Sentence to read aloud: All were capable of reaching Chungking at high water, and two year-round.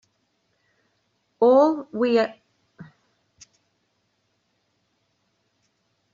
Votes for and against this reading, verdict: 1, 2, rejected